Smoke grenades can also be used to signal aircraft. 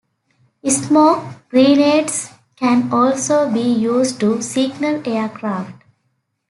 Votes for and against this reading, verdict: 1, 2, rejected